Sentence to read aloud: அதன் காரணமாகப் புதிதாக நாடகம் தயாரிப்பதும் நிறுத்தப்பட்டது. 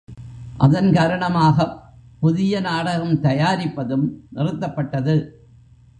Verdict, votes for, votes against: rejected, 0, 2